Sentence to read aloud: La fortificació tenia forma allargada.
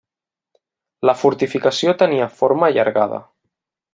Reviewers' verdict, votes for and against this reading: rejected, 1, 2